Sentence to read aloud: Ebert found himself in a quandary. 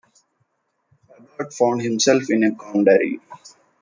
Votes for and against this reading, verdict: 0, 2, rejected